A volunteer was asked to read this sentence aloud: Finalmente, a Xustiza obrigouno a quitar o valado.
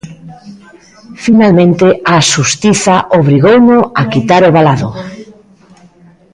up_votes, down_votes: 2, 0